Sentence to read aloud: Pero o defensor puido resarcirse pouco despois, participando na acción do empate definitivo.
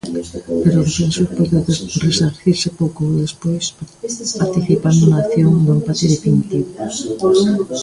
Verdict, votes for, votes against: rejected, 0, 2